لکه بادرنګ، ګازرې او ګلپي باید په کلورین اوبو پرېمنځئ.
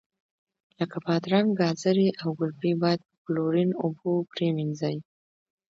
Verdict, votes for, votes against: accepted, 2, 1